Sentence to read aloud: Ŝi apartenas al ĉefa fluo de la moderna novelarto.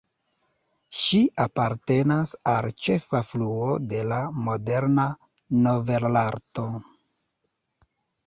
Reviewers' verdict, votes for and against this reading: rejected, 0, 2